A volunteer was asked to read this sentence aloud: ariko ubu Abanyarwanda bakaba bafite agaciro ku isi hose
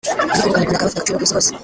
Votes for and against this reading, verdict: 0, 2, rejected